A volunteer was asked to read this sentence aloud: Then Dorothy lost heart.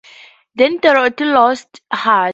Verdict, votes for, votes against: accepted, 2, 0